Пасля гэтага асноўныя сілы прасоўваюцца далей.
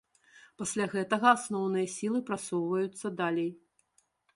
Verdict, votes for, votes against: rejected, 0, 2